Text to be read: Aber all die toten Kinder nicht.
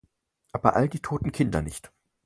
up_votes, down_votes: 4, 0